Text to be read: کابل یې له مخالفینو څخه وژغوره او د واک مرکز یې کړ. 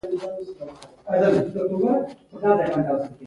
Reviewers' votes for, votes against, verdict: 1, 2, rejected